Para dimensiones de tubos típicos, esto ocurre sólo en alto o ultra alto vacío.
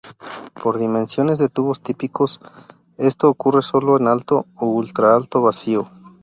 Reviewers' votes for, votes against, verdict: 0, 2, rejected